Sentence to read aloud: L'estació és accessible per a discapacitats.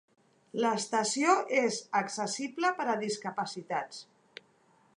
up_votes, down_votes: 3, 0